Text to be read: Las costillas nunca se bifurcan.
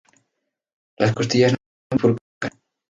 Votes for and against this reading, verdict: 0, 2, rejected